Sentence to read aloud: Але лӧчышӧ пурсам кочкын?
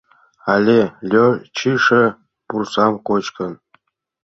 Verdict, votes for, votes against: rejected, 1, 2